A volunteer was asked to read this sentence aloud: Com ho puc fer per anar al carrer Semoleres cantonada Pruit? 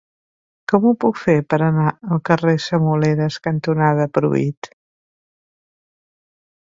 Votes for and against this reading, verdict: 3, 0, accepted